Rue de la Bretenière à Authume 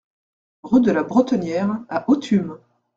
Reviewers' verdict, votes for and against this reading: accepted, 2, 0